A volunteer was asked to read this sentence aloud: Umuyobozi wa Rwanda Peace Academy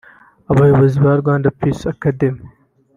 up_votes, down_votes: 1, 2